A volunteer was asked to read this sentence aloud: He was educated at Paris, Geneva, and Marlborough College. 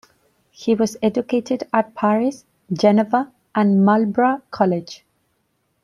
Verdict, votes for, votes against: rejected, 1, 2